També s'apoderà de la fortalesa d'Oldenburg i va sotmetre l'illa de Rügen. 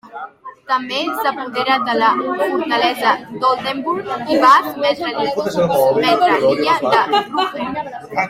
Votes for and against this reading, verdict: 0, 2, rejected